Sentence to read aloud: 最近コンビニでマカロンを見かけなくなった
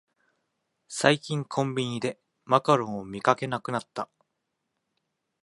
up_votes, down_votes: 2, 0